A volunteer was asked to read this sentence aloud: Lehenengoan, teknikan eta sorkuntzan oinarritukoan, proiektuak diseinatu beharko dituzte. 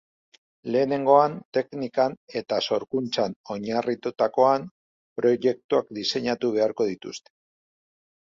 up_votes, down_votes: 0, 2